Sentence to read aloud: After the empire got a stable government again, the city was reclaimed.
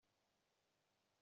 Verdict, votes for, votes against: rejected, 0, 2